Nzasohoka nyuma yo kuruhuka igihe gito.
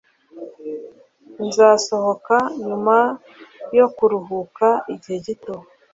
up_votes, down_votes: 2, 0